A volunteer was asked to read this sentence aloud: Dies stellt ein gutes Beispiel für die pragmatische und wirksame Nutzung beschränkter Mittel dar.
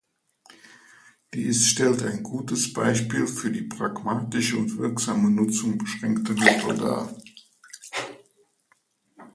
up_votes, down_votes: 2, 0